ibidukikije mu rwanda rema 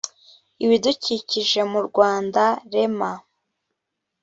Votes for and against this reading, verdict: 2, 0, accepted